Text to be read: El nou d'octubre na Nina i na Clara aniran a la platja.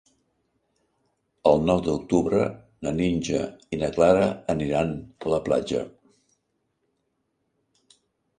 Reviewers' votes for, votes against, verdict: 1, 2, rejected